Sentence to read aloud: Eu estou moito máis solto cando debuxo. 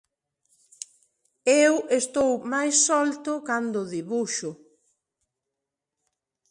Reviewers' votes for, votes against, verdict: 0, 2, rejected